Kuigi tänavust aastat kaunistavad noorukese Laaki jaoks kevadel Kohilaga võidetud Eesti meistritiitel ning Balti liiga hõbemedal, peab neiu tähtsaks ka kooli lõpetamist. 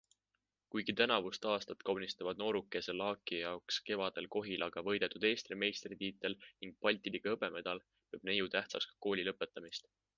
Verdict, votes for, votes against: accepted, 2, 1